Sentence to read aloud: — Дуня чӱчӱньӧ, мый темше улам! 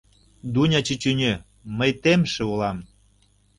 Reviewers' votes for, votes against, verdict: 2, 0, accepted